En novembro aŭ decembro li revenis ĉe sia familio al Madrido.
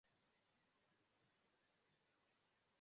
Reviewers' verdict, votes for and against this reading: rejected, 0, 2